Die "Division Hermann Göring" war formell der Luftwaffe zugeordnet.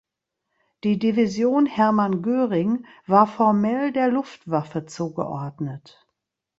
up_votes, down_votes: 2, 0